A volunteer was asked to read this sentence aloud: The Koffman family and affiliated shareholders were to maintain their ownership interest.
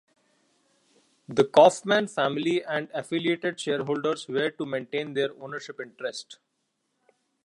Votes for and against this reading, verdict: 2, 0, accepted